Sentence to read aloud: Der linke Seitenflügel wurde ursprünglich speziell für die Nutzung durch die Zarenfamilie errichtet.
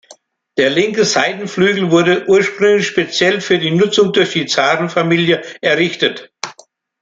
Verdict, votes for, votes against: accepted, 2, 0